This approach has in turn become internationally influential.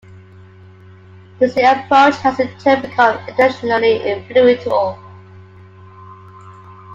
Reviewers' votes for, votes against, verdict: 1, 2, rejected